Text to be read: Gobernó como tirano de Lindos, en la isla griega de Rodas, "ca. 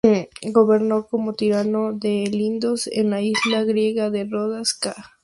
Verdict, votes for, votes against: rejected, 2, 2